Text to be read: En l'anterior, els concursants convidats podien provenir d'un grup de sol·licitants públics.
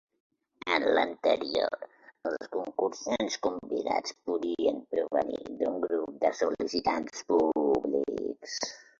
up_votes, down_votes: 2, 0